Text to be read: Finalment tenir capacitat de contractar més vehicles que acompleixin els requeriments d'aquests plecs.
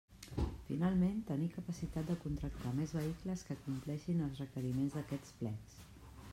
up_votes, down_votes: 2, 0